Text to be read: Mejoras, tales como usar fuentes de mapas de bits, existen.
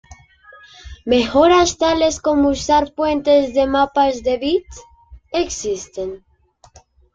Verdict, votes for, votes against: accepted, 2, 0